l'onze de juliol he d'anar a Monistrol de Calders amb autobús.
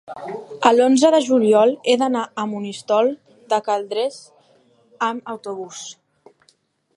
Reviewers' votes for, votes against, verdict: 2, 1, accepted